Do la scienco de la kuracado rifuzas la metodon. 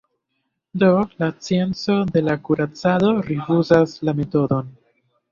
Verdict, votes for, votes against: accepted, 2, 0